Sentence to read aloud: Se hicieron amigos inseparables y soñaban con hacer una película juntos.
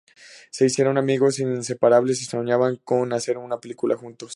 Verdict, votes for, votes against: accepted, 2, 0